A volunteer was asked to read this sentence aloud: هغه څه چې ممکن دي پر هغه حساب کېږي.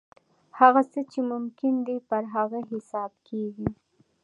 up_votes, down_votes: 2, 0